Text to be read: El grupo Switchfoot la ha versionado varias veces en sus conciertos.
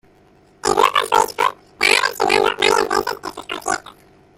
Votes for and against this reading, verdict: 0, 2, rejected